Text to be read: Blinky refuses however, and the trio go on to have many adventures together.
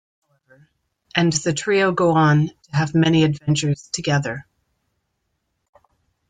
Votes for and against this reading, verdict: 0, 2, rejected